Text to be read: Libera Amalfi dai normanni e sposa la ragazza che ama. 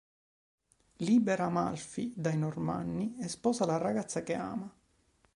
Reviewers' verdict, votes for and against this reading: accepted, 2, 0